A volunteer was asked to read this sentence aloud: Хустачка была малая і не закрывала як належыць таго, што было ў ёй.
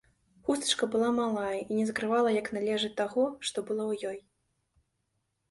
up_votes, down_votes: 2, 0